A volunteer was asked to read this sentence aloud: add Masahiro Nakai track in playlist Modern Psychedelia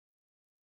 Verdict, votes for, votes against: rejected, 0, 2